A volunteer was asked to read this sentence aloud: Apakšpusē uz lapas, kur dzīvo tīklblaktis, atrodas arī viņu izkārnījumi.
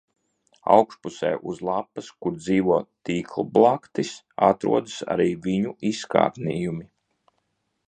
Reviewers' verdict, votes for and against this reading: rejected, 0, 2